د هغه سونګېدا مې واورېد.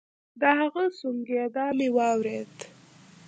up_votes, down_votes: 2, 0